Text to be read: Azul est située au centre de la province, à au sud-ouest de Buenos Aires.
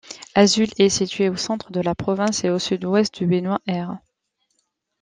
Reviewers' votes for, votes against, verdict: 1, 2, rejected